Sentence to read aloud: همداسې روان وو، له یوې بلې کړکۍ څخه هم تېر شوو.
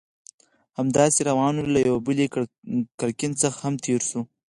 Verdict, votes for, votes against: rejected, 2, 4